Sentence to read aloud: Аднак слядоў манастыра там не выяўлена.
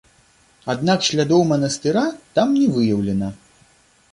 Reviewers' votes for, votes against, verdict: 2, 0, accepted